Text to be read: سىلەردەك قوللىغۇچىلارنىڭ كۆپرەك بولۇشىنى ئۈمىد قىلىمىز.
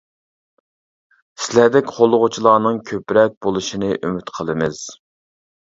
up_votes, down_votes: 2, 0